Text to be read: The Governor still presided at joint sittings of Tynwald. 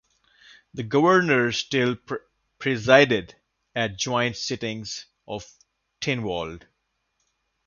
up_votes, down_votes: 1, 2